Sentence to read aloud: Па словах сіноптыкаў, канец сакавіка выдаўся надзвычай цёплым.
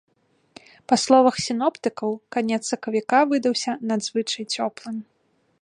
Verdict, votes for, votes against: accepted, 2, 0